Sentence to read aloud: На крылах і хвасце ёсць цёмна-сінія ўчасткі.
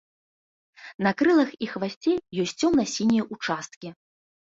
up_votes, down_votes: 2, 0